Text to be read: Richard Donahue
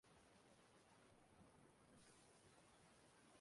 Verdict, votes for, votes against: rejected, 0, 2